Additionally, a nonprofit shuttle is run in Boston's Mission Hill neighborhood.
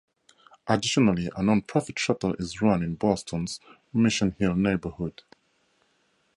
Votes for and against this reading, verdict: 2, 2, rejected